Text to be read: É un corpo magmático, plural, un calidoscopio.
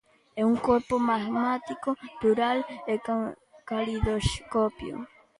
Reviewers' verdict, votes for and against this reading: rejected, 0, 2